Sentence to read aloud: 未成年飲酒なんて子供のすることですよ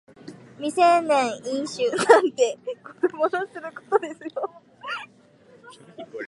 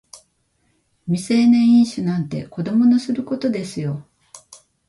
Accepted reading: second